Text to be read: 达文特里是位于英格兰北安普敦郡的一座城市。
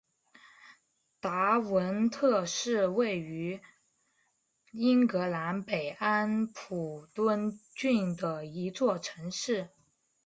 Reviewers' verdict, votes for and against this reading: accepted, 2, 0